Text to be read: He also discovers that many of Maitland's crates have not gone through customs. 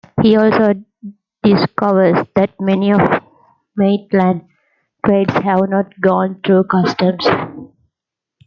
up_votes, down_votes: 0, 2